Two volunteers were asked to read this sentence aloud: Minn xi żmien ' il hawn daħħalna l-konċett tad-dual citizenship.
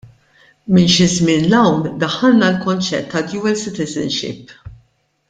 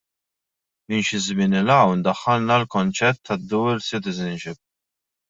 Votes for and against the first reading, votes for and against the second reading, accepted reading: 2, 0, 1, 2, first